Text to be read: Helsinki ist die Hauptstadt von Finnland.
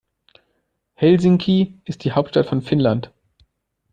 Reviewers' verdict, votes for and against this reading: accepted, 2, 0